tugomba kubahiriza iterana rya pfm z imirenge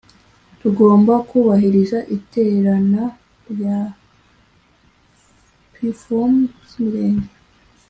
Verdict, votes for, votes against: accepted, 2, 0